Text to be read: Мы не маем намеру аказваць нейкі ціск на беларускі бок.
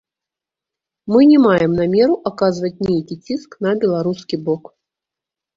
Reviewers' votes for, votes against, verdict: 1, 2, rejected